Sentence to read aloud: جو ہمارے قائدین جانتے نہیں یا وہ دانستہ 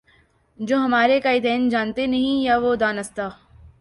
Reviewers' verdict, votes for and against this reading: accepted, 2, 0